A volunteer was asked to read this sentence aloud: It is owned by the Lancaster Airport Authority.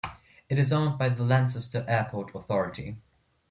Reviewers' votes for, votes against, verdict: 2, 0, accepted